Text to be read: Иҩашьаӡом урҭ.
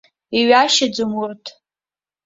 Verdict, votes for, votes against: accepted, 2, 0